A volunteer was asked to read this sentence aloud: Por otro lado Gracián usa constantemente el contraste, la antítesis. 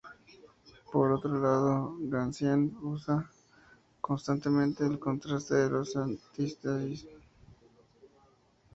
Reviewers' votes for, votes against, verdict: 0, 2, rejected